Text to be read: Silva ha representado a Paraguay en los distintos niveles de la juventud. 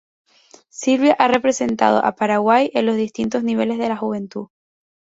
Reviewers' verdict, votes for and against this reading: rejected, 0, 4